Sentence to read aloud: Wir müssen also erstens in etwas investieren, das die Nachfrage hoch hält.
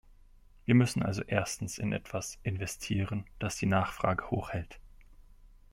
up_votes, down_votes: 2, 0